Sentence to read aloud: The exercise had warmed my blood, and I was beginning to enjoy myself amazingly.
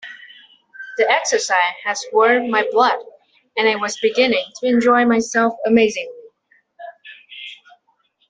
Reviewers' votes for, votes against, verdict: 2, 0, accepted